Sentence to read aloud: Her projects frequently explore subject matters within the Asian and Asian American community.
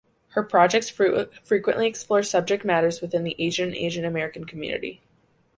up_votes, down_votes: 1, 2